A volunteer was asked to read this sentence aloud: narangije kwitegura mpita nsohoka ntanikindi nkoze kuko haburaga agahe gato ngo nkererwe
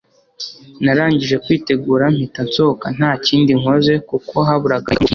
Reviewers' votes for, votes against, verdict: 1, 2, rejected